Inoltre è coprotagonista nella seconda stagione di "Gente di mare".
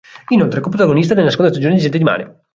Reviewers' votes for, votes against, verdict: 0, 4, rejected